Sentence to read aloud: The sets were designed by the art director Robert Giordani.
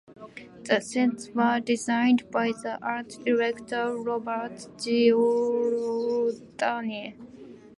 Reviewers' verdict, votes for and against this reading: accepted, 2, 1